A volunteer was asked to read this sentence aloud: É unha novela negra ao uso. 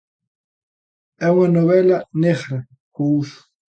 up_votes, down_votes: 2, 0